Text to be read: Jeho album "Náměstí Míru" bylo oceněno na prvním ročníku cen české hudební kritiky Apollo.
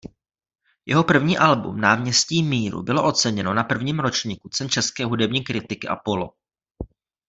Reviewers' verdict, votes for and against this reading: rejected, 0, 2